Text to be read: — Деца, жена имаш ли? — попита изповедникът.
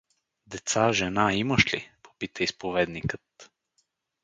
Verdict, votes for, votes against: accepted, 4, 0